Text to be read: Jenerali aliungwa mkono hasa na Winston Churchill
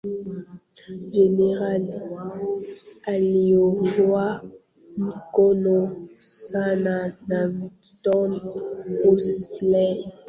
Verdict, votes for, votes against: rejected, 0, 2